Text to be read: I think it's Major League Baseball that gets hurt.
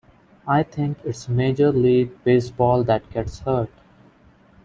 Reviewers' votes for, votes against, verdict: 2, 1, accepted